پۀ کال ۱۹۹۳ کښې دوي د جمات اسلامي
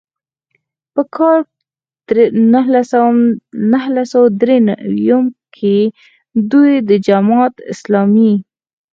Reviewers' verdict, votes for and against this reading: rejected, 0, 2